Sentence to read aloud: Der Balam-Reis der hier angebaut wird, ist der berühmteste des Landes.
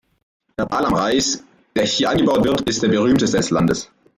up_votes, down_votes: 2, 0